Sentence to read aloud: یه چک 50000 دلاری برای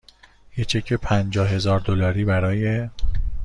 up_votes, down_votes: 0, 2